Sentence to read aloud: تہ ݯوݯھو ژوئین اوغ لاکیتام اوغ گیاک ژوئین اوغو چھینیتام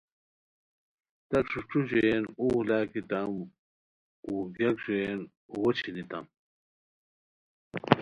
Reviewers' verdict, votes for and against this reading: accepted, 2, 0